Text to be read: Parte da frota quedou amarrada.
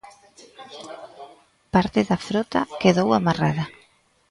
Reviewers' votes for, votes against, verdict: 2, 0, accepted